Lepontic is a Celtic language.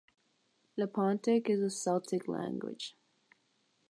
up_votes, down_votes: 3, 3